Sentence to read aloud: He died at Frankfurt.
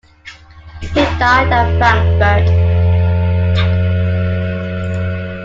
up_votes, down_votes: 2, 1